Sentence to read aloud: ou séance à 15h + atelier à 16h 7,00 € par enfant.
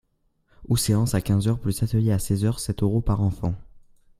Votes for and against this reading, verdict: 0, 2, rejected